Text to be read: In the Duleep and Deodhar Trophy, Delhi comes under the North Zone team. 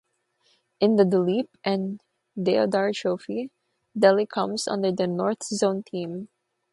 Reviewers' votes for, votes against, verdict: 0, 3, rejected